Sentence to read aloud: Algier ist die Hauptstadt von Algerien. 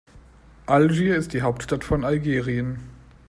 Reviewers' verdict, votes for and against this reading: accepted, 2, 0